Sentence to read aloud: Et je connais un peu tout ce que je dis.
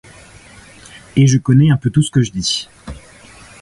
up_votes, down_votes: 2, 0